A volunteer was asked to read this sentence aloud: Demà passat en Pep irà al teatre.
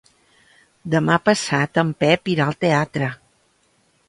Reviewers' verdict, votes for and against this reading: accepted, 3, 0